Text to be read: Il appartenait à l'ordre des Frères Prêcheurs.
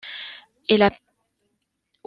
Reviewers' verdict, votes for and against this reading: rejected, 0, 2